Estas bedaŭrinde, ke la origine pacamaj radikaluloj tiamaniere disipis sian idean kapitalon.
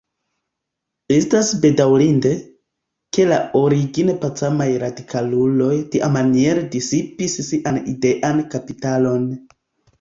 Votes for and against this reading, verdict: 2, 0, accepted